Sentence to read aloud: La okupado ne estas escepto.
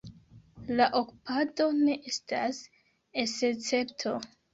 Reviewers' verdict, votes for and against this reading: accepted, 2, 1